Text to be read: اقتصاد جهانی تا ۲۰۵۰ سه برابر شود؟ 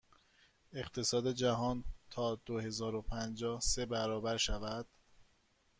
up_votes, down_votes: 0, 2